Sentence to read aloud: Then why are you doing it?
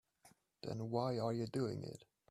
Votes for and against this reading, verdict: 2, 0, accepted